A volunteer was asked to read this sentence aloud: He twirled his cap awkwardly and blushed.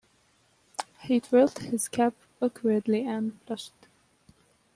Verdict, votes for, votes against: accepted, 2, 1